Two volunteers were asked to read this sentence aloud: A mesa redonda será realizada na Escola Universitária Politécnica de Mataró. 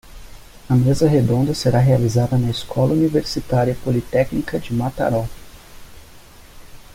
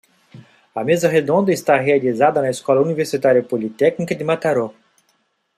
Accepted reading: first